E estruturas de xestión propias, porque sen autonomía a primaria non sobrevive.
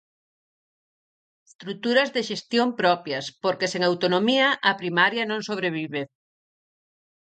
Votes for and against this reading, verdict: 2, 4, rejected